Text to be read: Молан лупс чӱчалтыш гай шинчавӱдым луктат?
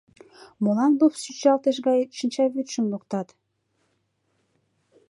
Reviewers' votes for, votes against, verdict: 0, 2, rejected